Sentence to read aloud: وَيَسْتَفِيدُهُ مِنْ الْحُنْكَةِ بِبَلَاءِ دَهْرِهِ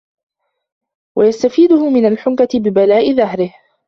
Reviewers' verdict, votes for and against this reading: rejected, 1, 2